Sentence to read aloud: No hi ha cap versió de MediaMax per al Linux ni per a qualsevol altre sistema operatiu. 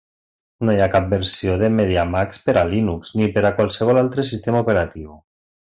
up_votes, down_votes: 2, 0